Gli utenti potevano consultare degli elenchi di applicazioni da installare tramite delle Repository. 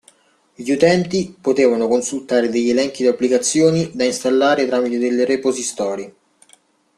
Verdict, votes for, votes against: rejected, 0, 2